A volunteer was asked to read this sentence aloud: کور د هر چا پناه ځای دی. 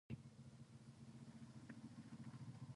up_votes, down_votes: 2, 4